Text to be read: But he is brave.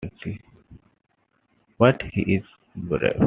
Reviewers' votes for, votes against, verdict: 2, 0, accepted